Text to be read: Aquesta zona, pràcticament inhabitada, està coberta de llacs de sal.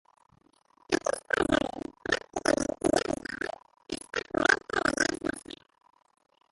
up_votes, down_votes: 0, 3